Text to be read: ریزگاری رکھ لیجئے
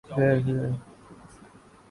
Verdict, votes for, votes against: rejected, 0, 2